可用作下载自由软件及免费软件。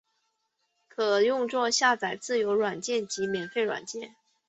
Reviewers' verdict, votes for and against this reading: accepted, 2, 0